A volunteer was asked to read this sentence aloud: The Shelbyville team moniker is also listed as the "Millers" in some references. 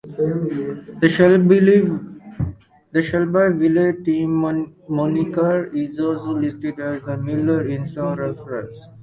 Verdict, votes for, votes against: rejected, 0, 4